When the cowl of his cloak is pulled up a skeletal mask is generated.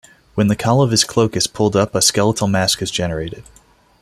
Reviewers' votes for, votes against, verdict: 2, 0, accepted